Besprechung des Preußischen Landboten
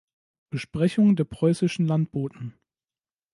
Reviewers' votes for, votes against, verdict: 0, 2, rejected